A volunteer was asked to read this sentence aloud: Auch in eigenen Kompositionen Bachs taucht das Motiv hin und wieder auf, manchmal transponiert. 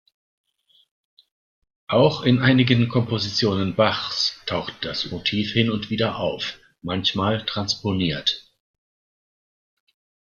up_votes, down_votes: 1, 2